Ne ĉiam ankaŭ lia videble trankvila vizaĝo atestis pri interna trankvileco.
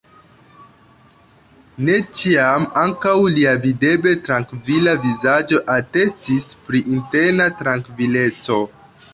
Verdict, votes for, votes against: rejected, 1, 2